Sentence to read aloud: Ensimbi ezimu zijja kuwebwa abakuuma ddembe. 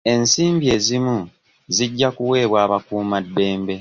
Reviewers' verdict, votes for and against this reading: accepted, 2, 0